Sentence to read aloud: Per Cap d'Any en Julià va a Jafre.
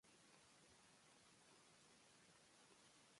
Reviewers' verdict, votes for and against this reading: rejected, 0, 2